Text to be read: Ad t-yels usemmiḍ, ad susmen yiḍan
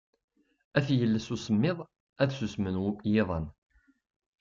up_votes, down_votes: 1, 3